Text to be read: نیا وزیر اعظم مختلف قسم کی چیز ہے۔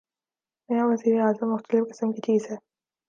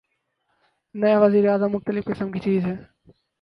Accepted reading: first